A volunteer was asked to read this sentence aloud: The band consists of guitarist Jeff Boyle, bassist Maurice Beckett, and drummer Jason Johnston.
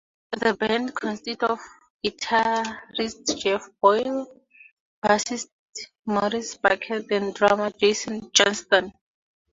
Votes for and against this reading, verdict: 2, 2, rejected